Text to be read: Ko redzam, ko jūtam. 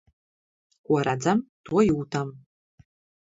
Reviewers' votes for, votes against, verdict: 1, 2, rejected